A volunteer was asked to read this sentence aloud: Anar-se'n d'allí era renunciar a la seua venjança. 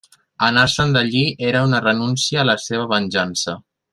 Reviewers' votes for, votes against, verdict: 0, 2, rejected